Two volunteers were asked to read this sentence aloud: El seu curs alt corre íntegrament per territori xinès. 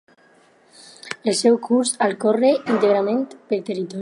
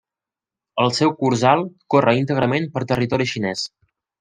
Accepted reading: second